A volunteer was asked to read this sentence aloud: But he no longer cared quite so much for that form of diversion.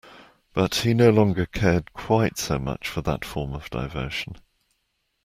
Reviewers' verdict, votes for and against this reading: accepted, 2, 0